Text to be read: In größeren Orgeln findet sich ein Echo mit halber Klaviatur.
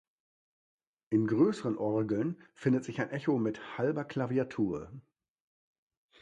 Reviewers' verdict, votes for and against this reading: accepted, 2, 0